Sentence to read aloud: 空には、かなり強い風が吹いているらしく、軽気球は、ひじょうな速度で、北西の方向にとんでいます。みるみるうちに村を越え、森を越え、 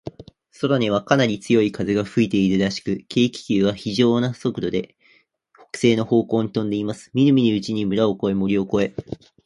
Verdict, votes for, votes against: accepted, 18, 3